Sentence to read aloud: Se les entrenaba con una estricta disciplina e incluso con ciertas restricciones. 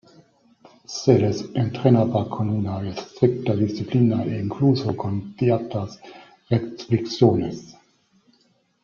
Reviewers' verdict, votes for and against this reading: rejected, 0, 2